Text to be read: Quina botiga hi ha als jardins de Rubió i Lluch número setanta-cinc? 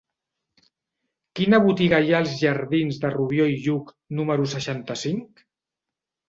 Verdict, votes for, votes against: rejected, 0, 2